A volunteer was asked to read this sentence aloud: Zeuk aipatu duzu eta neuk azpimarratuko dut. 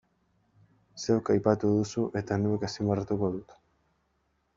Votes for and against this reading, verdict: 1, 2, rejected